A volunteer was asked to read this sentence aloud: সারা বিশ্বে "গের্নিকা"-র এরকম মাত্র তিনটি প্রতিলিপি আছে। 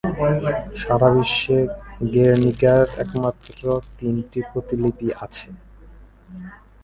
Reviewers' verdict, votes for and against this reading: rejected, 2, 2